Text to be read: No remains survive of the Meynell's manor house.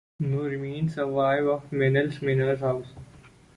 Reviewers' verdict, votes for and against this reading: rejected, 1, 2